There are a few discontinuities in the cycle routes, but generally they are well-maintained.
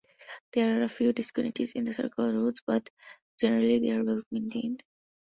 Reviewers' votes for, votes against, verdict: 0, 2, rejected